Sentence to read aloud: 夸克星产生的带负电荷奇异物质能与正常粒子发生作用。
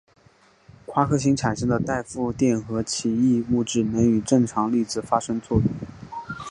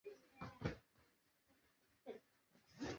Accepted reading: first